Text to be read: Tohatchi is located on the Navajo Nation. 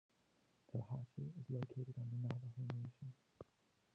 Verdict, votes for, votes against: rejected, 1, 2